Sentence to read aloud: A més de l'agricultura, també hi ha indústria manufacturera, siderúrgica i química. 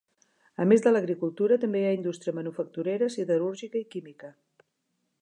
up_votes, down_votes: 3, 0